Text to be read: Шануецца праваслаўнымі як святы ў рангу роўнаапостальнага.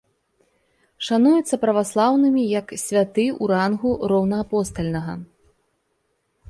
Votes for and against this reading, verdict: 2, 0, accepted